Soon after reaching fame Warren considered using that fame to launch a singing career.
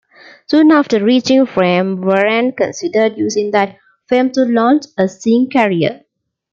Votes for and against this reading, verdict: 0, 2, rejected